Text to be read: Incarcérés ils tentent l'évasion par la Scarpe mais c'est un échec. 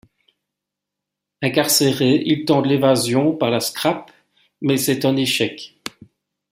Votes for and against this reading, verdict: 1, 2, rejected